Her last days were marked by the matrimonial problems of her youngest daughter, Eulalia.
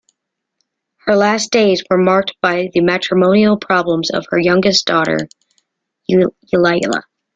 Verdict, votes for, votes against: rejected, 0, 2